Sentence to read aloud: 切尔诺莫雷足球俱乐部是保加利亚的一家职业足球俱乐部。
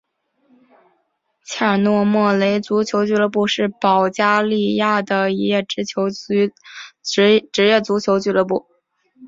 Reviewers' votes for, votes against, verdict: 3, 1, accepted